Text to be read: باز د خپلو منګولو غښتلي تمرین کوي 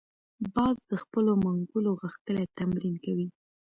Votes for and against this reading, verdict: 1, 2, rejected